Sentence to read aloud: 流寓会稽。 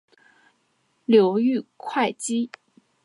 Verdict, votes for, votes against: rejected, 1, 4